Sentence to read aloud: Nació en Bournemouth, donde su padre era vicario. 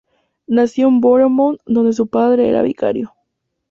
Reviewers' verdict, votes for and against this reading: rejected, 0, 2